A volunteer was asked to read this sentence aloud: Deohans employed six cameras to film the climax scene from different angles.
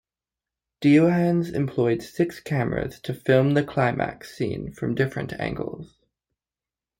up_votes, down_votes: 2, 1